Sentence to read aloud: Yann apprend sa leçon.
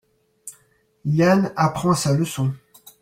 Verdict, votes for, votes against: accepted, 2, 0